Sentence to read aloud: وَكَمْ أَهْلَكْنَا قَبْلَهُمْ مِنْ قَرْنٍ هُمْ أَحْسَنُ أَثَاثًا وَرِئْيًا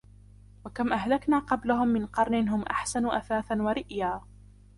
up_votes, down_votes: 2, 0